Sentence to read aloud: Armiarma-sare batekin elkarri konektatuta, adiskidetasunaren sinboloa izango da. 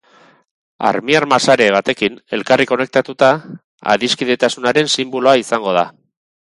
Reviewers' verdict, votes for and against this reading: rejected, 2, 2